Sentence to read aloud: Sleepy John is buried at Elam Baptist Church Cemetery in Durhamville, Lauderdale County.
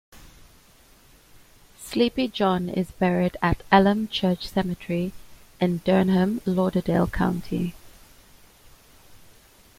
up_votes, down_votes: 0, 2